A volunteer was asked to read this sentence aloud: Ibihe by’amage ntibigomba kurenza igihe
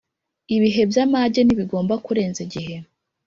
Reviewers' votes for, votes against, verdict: 2, 0, accepted